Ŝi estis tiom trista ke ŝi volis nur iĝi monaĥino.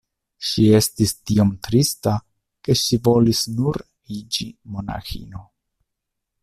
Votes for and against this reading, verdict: 2, 1, accepted